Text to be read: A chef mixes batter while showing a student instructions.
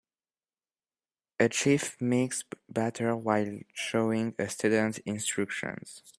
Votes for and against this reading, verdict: 2, 0, accepted